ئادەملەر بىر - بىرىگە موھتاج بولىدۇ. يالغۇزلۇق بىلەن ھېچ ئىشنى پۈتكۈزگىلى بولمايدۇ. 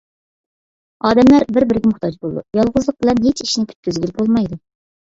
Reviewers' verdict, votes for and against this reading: accepted, 2, 1